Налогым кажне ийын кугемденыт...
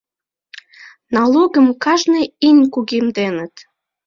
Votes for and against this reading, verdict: 2, 1, accepted